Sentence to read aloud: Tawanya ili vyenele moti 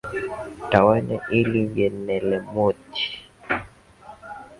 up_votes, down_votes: 0, 3